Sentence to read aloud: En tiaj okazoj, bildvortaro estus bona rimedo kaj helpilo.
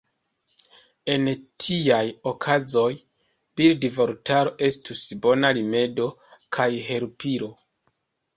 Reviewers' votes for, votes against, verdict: 0, 2, rejected